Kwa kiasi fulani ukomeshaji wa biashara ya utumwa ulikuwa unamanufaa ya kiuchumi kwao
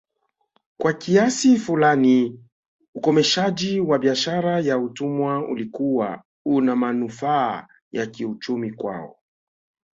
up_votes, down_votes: 5, 0